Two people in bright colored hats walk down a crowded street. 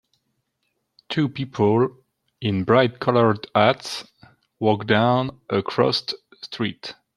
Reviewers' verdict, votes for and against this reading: rejected, 1, 2